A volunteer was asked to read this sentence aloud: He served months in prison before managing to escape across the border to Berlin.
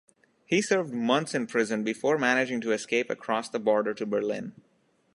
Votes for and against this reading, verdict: 2, 0, accepted